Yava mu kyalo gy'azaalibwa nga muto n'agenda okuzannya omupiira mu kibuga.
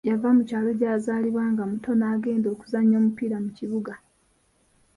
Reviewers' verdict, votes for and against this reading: accepted, 2, 0